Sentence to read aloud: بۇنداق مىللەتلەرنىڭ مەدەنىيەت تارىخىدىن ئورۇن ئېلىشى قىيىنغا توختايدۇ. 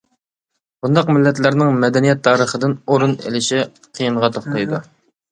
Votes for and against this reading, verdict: 2, 0, accepted